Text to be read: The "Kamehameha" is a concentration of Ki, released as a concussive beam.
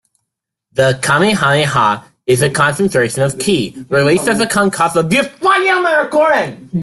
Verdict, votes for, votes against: rejected, 0, 2